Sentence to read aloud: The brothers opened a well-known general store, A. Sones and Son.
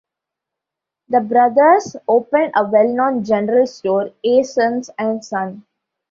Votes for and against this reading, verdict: 2, 0, accepted